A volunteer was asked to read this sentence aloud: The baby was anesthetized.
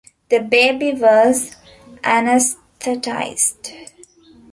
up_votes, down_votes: 0, 2